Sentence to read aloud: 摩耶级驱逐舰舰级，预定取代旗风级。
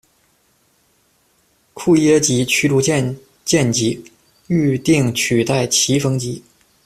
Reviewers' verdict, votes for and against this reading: rejected, 1, 2